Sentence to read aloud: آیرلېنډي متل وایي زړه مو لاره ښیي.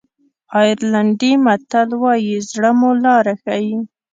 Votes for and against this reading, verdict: 2, 0, accepted